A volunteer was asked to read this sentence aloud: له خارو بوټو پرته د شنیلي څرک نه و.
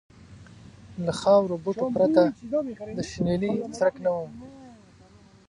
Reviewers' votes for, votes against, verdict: 1, 2, rejected